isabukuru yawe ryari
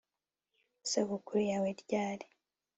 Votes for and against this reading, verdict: 4, 0, accepted